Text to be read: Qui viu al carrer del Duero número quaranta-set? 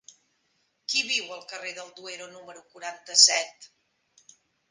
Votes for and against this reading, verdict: 3, 0, accepted